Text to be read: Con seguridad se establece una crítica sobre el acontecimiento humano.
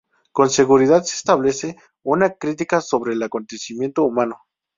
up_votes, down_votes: 6, 0